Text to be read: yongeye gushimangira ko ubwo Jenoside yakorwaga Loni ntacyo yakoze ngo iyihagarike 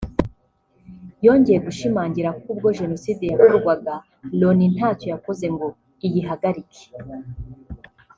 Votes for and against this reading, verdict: 2, 1, accepted